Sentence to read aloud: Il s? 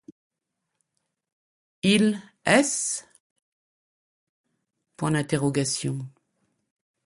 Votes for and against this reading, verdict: 1, 2, rejected